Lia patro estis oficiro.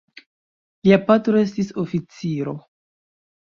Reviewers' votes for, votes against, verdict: 2, 0, accepted